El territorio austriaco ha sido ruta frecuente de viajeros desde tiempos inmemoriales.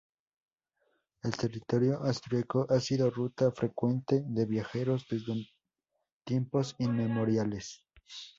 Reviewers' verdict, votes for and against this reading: accepted, 2, 0